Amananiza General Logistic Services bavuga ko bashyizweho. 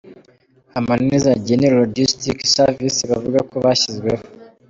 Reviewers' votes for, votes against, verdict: 0, 2, rejected